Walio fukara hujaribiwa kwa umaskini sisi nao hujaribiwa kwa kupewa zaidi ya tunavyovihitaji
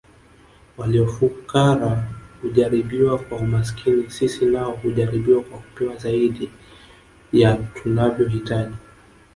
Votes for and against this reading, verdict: 1, 2, rejected